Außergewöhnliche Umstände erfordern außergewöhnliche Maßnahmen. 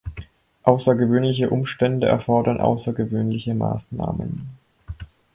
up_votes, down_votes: 4, 0